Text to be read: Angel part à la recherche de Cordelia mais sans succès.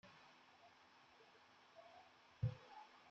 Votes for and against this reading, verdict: 1, 2, rejected